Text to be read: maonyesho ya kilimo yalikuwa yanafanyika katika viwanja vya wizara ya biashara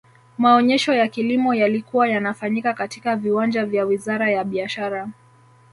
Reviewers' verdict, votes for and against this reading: rejected, 1, 2